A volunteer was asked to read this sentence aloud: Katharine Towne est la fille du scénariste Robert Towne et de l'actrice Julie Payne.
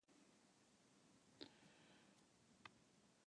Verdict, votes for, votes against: rejected, 1, 2